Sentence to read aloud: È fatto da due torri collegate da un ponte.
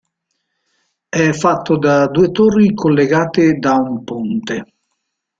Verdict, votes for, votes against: accepted, 2, 0